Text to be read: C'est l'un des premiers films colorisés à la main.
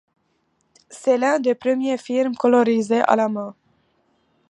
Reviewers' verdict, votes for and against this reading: accepted, 2, 0